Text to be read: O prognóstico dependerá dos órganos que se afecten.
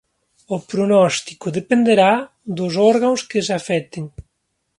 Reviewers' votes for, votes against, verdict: 2, 1, accepted